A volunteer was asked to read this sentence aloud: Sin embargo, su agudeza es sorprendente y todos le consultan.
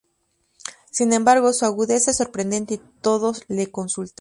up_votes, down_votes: 0, 2